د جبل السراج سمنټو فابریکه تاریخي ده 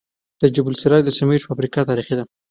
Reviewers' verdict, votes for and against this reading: accepted, 2, 1